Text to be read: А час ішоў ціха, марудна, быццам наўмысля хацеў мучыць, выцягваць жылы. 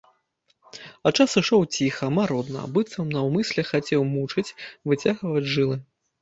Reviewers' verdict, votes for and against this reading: accepted, 2, 0